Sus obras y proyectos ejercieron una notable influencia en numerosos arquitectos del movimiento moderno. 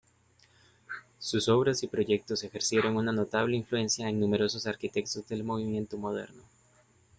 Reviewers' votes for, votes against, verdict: 2, 0, accepted